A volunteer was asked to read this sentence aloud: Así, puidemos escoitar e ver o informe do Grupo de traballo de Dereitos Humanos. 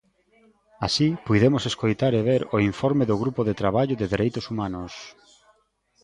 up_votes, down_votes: 2, 0